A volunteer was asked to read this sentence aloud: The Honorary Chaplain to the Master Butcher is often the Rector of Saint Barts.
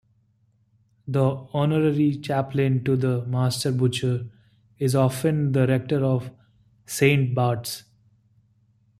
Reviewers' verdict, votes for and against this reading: accepted, 2, 0